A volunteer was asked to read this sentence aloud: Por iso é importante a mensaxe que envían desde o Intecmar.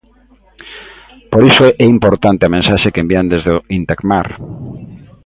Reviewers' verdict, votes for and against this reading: accepted, 2, 0